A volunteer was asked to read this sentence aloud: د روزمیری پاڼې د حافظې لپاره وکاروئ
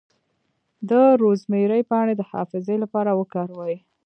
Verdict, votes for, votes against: rejected, 0, 2